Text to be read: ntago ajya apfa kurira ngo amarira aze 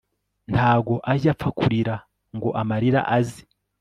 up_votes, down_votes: 2, 0